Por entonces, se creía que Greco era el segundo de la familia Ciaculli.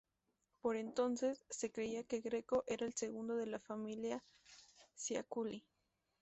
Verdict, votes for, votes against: accepted, 2, 0